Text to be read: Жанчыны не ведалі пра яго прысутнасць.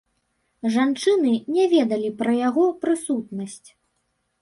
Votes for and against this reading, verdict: 1, 2, rejected